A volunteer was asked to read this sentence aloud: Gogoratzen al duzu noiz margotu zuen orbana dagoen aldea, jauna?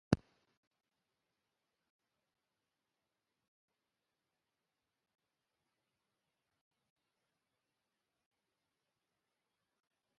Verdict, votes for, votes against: rejected, 0, 2